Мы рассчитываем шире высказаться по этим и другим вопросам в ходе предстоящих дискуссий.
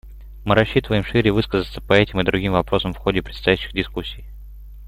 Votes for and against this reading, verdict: 2, 0, accepted